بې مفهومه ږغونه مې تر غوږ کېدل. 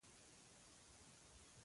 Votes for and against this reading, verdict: 0, 2, rejected